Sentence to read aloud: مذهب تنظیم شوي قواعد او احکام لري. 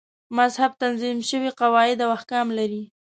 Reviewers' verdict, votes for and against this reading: accepted, 2, 0